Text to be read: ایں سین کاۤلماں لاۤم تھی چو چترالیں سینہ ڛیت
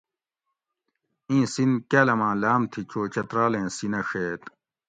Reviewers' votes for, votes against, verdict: 2, 0, accepted